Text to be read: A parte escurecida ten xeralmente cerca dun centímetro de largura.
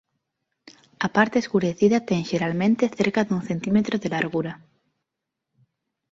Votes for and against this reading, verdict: 2, 0, accepted